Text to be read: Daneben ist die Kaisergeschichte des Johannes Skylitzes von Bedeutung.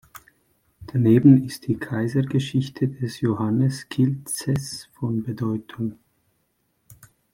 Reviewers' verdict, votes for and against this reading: rejected, 1, 2